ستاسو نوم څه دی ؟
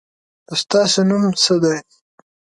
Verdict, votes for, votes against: accepted, 4, 0